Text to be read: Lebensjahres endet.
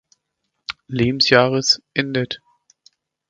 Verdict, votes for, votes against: accepted, 2, 0